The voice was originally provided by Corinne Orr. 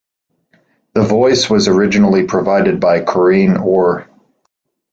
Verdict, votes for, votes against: accepted, 2, 0